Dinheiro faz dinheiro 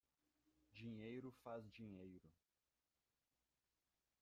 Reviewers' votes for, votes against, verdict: 1, 2, rejected